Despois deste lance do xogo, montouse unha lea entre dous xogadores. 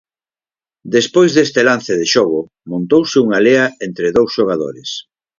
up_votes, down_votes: 2, 4